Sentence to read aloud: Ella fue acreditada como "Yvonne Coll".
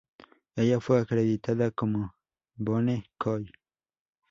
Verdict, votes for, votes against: accepted, 2, 0